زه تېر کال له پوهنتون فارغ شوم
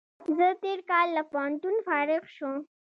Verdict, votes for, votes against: accepted, 2, 0